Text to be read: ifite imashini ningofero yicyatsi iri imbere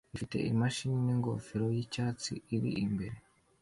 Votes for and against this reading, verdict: 2, 1, accepted